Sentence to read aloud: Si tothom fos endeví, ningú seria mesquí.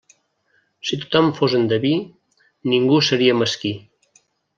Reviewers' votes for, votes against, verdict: 3, 0, accepted